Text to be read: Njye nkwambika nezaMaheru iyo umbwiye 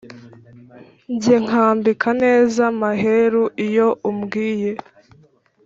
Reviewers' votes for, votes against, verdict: 2, 0, accepted